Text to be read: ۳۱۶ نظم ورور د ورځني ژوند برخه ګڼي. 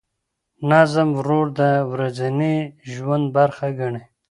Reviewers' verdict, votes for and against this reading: rejected, 0, 2